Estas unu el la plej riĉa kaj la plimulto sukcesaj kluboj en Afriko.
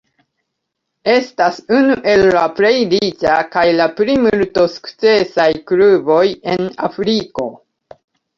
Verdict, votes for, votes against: rejected, 2, 3